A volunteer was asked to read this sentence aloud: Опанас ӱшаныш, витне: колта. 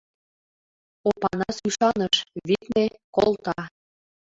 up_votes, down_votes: 2, 1